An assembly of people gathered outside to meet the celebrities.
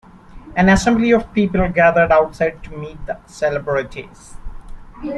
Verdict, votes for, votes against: rejected, 1, 2